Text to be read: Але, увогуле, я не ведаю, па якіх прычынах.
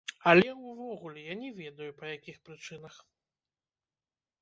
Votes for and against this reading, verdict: 1, 2, rejected